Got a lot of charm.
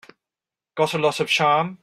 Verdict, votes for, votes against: accepted, 4, 0